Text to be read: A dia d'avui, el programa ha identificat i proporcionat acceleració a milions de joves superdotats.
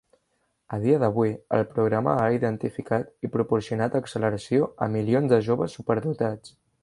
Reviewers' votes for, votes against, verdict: 3, 0, accepted